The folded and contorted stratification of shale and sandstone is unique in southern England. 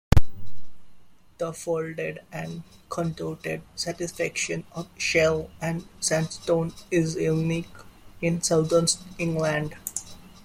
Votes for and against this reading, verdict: 1, 2, rejected